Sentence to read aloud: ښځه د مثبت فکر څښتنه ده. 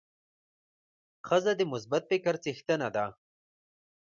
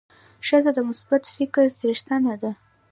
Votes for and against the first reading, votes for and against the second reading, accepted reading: 2, 0, 1, 2, first